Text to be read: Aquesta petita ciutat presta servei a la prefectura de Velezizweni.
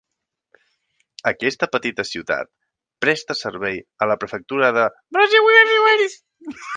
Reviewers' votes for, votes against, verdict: 0, 4, rejected